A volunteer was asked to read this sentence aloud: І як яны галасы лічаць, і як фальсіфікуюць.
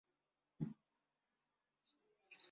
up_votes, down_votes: 0, 2